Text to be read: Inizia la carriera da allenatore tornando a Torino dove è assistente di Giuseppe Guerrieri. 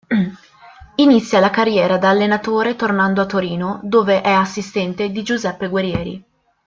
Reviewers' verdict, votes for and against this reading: accepted, 2, 0